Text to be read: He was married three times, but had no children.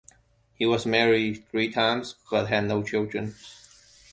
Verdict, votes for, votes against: accepted, 2, 0